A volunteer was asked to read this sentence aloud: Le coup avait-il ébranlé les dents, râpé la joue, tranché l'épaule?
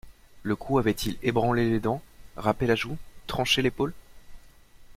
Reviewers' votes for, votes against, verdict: 2, 0, accepted